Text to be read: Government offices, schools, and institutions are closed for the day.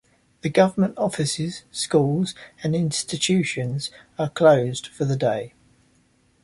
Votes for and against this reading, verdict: 1, 2, rejected